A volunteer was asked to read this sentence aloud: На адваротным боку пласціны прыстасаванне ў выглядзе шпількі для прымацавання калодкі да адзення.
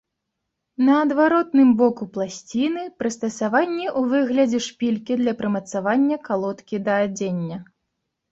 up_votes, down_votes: 2, 0